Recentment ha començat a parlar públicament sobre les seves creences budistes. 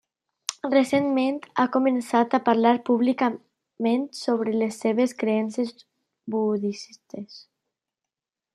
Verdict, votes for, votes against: rejected, 0, 2